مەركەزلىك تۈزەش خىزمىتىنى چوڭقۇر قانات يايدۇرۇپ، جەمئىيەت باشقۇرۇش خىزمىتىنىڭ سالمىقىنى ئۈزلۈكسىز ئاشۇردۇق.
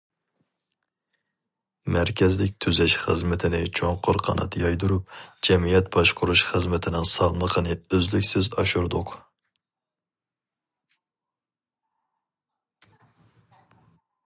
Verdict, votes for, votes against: accepted, 4, 0